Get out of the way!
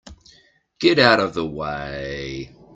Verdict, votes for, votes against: accepted, 2, 0